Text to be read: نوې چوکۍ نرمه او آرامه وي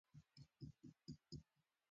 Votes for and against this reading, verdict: 0, 2, rejected